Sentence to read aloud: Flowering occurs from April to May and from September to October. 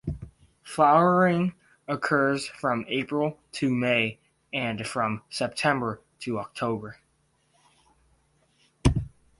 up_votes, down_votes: 2, 0